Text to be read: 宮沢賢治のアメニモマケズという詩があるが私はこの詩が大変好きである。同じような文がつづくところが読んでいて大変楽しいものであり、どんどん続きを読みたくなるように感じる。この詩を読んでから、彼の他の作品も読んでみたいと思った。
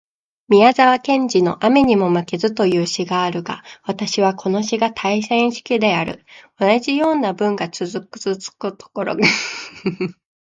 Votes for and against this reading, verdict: 1, 2, rejected